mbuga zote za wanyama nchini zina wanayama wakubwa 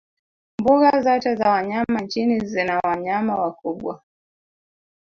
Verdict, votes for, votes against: rejected, 1, 2